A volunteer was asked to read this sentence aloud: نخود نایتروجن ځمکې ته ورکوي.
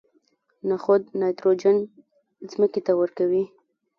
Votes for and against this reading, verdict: 2, 0, accepted